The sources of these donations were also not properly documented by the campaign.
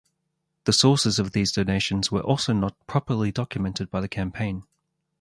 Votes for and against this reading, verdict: 4, 0, accepted